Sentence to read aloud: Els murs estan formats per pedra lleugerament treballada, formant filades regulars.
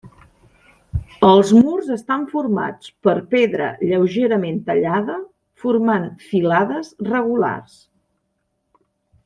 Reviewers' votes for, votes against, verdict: 0, 2, rejected